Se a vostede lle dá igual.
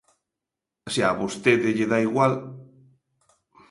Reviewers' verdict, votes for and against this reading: accepted, 2, 0